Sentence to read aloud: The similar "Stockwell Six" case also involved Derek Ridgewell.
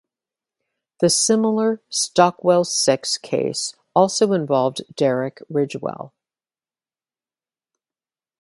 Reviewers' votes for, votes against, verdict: 2, 0, accepted